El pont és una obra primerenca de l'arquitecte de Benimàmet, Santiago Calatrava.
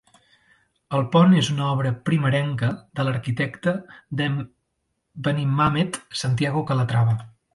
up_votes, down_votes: 2, 0